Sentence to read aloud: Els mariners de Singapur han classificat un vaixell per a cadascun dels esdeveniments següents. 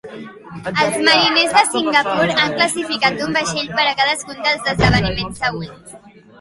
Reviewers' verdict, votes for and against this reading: accepted, 3, 0